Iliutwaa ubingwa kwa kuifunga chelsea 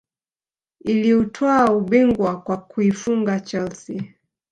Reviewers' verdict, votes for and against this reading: accepted, 3, 1